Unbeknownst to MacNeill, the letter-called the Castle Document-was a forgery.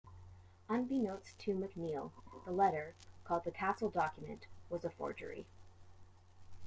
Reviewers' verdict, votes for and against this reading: accepted, 2, 1